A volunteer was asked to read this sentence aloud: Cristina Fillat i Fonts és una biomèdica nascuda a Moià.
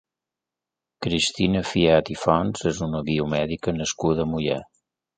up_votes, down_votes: 3, 1